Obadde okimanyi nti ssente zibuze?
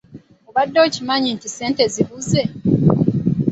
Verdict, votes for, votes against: accepted, 3, 0